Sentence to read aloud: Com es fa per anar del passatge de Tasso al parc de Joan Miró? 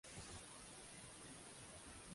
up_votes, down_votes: 0, 2